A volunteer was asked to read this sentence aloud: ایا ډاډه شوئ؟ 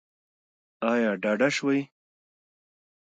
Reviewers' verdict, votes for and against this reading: rejected, 0, 2